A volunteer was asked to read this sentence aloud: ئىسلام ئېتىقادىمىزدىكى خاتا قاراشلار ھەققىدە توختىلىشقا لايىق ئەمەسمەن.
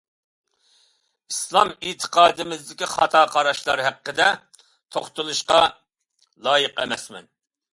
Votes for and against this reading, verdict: 2, 0, accepted